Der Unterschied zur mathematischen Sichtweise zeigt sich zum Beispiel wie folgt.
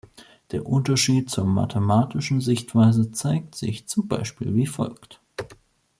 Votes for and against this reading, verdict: 2, 0, accepted